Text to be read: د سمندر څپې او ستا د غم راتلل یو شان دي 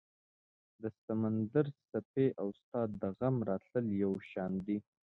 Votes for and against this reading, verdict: 2, 0, accepted